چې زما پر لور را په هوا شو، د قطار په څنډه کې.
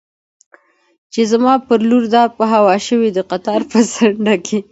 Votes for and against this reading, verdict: 2, 0, accepted